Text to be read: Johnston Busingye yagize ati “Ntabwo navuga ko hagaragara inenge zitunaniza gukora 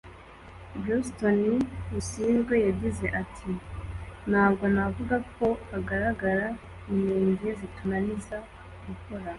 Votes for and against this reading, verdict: 2, 0, accepted